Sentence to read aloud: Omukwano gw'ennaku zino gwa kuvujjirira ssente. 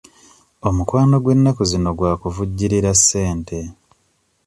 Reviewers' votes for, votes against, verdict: 1, 2, rejected